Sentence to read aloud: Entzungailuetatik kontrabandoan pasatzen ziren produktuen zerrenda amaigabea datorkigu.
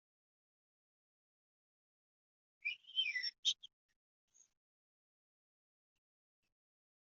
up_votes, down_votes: 0, 2